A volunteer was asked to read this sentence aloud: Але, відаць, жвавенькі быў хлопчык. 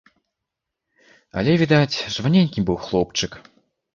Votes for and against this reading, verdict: 0, 2, rejected